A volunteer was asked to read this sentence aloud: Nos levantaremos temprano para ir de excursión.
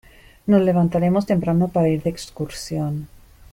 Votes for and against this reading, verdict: 2, 0, accepted